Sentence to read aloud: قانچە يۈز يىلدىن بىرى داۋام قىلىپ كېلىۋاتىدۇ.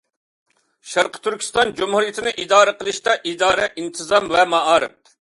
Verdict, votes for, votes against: rejected, 0, 2